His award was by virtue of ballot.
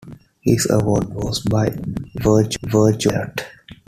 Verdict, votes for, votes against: rejected, 0, 2